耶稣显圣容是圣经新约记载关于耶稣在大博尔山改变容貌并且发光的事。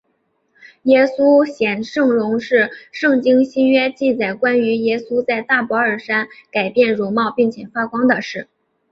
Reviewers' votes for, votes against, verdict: 0, 2, rejected